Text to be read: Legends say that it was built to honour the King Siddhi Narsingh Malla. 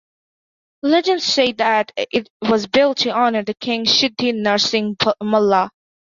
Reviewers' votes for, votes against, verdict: 2, 1, accepted